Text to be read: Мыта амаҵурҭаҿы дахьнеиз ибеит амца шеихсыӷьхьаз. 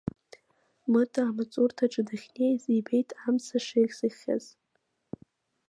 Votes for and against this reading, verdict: 2, 1, accepted